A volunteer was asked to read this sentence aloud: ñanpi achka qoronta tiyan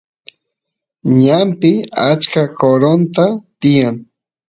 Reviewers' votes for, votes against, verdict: 2, 0, accepted